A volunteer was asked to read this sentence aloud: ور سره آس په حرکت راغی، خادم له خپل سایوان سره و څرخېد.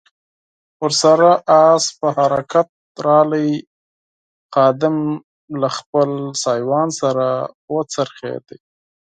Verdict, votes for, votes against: accepted, 4, 0